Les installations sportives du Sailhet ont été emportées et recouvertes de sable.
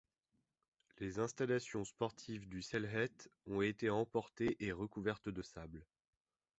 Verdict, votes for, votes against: rejected, 1, 2